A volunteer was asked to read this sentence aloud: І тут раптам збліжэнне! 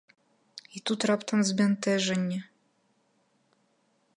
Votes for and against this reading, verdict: 0, 3, rejected